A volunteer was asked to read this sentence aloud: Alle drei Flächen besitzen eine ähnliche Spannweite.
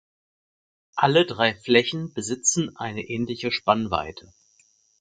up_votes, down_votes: 4, 0